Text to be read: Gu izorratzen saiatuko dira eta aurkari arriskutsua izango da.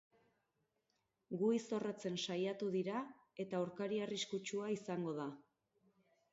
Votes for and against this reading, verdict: 4, 4, rejected